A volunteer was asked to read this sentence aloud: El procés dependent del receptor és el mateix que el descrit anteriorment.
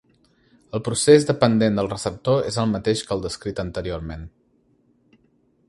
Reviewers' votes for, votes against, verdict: 2, 0, accepted